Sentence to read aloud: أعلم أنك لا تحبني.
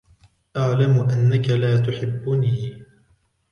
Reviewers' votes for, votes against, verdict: 2, 0, accepted